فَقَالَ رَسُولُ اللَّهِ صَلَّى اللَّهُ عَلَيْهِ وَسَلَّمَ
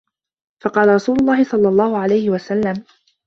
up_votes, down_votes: 2, 0